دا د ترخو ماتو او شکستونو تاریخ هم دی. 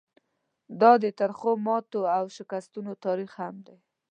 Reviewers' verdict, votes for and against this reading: accepted, 2, 0